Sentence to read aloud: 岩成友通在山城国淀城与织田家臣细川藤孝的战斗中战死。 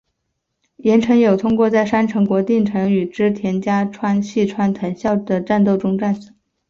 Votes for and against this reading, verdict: 5, 1, accepted